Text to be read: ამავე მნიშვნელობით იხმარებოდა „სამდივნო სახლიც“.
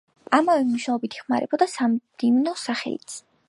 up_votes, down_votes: 2, 0